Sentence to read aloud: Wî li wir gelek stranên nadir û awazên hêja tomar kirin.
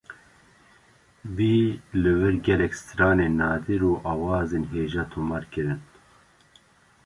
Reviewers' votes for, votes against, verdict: 2, 0, accepted